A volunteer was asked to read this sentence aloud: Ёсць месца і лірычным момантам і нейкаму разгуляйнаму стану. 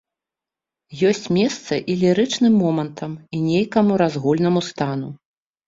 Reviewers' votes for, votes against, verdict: 1, 2, rejected